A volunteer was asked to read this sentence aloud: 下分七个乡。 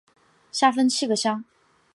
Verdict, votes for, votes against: accepted, 2, 0